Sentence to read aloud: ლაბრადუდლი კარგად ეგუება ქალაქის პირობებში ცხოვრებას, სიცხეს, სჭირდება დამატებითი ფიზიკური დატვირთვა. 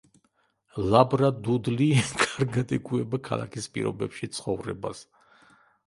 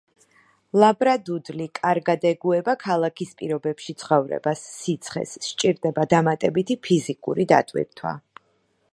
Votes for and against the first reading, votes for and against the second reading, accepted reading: 0, 2, 2, 0, second